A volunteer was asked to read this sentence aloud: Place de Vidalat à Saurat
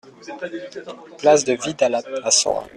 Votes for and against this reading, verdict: 1, 2, rejected